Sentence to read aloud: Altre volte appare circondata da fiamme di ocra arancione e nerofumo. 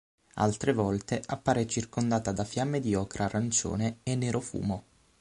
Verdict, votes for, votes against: accepted, 6, 0